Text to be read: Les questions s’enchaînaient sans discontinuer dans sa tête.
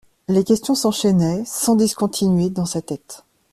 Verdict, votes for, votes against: accepted, 2, 0